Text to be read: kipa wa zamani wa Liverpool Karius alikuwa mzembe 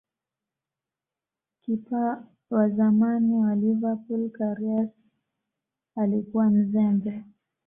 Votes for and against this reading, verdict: 2, 0, accepted